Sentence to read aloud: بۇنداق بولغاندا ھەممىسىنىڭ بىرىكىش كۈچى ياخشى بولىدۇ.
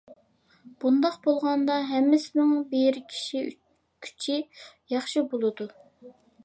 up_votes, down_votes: 0, 2